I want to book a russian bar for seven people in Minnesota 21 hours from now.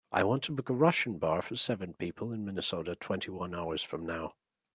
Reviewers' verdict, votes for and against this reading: rejected, 0, 2